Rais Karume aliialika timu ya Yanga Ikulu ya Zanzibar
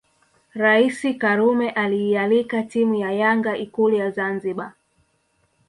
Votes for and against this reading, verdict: 2, 0, accepted